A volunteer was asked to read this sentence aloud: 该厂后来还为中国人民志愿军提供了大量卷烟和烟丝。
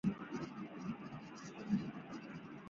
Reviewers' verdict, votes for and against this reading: rejected, 0, 2